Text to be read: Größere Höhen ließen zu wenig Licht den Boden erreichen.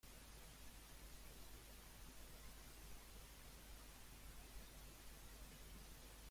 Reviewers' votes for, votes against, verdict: 0, 2, rejected